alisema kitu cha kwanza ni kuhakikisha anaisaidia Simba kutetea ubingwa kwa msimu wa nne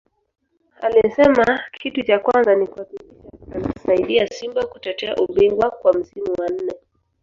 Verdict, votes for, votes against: rejected, 2, 3